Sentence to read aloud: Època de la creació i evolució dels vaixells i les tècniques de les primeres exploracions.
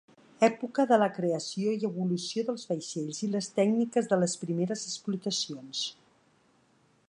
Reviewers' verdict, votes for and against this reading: rejected, 1, 2